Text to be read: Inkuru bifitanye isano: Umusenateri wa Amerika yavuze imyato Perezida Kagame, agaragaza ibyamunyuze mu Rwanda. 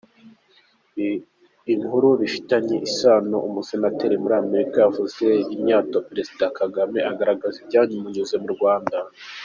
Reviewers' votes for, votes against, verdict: 0, 2, rejected